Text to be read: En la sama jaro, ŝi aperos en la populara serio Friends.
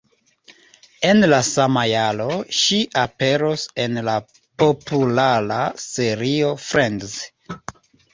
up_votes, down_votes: 2, 0